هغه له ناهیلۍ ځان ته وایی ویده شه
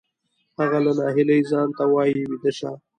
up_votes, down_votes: 2, 0